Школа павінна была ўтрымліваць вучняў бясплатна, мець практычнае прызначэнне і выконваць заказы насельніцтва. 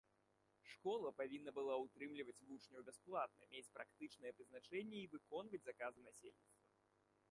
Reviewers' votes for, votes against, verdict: 1, 2, rejected